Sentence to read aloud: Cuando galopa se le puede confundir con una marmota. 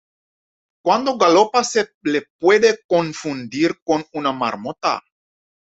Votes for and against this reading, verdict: 2, 0, accepted